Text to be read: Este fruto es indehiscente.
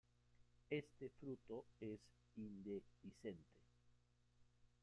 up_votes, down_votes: 0, 2